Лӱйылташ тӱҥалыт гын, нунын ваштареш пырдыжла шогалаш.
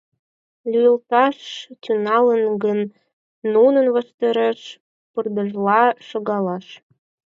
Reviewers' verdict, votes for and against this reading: rejected, 2, 4